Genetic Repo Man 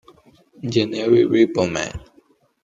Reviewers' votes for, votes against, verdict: 0, 2, rejected